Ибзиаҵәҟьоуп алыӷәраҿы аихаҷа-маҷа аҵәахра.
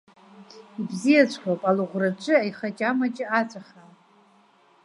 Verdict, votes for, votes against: rejected, 0, 2